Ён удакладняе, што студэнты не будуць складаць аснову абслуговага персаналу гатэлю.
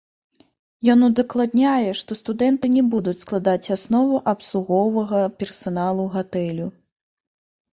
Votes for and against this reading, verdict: 2, 0, accepted